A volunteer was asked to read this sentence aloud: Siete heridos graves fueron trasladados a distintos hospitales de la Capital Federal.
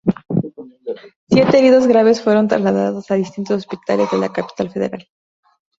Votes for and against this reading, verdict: 0, 2, rejected